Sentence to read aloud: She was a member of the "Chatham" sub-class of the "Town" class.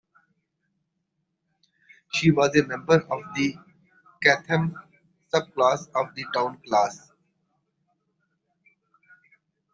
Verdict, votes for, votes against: rejected, 1, 2